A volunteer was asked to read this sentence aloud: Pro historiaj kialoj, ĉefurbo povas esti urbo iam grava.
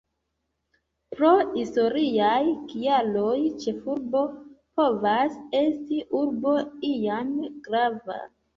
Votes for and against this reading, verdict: 1, 2, rejected